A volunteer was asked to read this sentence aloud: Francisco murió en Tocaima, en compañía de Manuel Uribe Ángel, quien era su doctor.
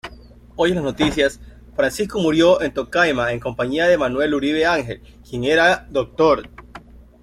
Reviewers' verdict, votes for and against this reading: rejected, 1, 2